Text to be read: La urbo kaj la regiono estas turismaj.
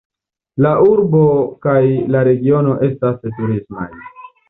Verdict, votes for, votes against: accepted, 2, 0